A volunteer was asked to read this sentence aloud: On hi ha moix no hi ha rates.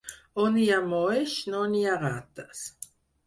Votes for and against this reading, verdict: 0, 4, rejected